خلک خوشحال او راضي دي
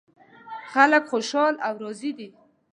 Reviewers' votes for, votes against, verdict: 0, 2, rejected